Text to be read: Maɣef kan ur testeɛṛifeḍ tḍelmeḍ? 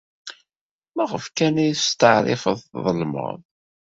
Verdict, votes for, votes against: rejected, 1, 2